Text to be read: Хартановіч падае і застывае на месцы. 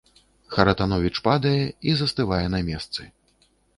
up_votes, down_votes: 1, 2